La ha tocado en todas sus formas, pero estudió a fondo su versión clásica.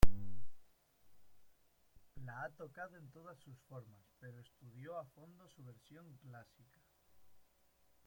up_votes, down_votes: 1, 2